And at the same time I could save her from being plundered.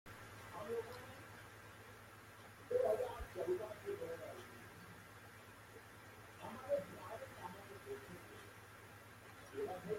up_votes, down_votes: 0, 2